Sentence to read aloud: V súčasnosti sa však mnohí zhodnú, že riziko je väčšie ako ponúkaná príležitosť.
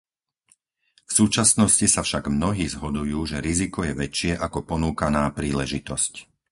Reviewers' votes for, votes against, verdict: 2, 2, rejected